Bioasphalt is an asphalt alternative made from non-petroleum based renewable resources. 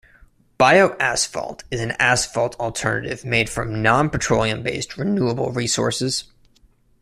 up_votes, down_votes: 2, 0